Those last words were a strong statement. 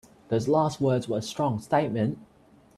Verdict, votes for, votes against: accepted, 3, 0